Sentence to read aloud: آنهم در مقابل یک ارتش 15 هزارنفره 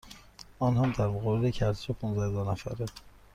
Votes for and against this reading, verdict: 0, 2, rejected